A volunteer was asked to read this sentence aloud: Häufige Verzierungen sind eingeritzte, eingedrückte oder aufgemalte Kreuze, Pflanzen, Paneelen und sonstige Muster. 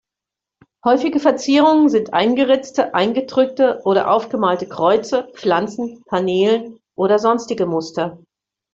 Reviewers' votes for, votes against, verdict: 0, 2, rejected